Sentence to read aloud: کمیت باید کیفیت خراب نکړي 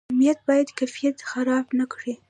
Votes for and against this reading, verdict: 2, 0, accepted